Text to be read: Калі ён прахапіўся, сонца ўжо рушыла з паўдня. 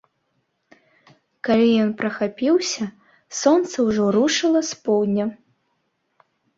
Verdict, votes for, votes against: rejected, 2, 3